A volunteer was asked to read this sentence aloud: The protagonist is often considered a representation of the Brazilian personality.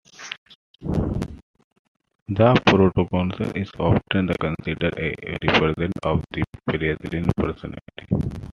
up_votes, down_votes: 0, 2